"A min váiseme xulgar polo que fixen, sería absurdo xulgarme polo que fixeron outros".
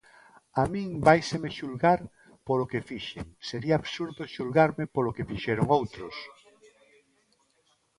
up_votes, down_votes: 1, 2